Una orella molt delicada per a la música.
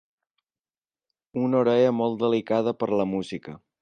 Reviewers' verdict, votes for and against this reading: accepted, 2, 0